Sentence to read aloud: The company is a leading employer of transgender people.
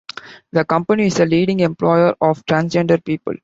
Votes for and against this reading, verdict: 2, 0, accepted